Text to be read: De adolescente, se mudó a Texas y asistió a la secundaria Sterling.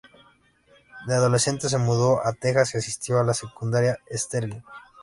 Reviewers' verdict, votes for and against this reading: accepted, 2, 0